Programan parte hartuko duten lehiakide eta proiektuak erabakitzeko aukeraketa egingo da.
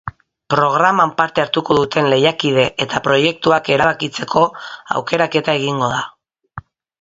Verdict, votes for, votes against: accepted, 3, 0